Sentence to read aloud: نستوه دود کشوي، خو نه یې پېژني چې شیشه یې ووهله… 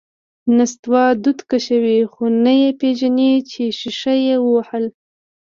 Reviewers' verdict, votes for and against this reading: accepted, 2, 1